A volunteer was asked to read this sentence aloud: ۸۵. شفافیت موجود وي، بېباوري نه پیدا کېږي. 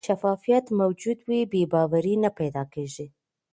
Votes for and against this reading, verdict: 0, 2, rejected